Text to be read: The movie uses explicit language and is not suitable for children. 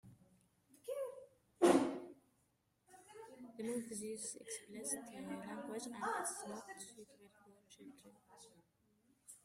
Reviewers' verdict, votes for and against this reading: rejected, 0, 2